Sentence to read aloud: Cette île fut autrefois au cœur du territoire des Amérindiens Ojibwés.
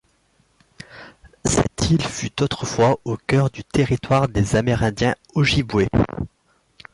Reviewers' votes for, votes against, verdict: 0, 2, rejected